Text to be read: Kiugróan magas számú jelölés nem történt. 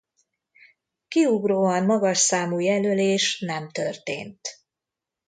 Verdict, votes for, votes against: accepted, 2, 0